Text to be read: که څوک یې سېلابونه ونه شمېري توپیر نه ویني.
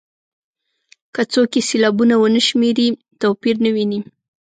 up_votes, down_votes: 2, 0